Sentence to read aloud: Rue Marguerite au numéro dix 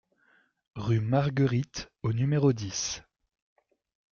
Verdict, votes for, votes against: accepted, 2, 0